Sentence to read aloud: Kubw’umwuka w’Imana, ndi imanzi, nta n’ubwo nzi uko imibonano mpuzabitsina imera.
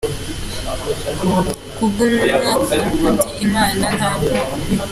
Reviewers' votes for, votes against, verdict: 1, 2, rejected